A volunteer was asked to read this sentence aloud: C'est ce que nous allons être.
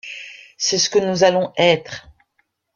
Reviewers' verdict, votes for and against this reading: rejected, 0, 2